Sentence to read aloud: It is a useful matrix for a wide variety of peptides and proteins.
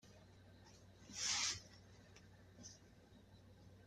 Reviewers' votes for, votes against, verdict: 0, 2, rejected